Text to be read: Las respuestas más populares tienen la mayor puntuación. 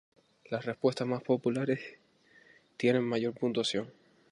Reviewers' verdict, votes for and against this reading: rejected, 0, 2